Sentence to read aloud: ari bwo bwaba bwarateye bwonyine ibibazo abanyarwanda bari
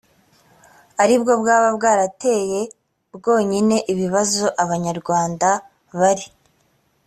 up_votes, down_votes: 2, 0